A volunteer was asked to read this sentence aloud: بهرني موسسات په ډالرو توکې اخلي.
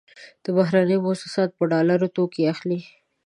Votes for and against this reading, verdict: 2, 1, accepted